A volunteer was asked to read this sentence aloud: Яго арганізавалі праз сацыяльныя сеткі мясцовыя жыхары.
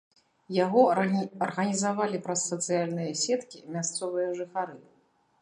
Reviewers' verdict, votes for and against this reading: rejected, 1, 2